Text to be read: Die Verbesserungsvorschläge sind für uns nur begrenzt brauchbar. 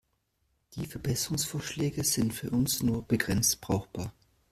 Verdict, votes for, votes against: accepted, 2, 0